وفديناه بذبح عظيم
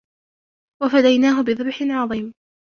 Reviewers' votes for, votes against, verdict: 1, 2, rejected